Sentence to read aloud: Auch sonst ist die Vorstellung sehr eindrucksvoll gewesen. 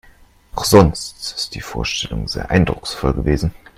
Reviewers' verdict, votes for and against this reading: accepted, 2, 0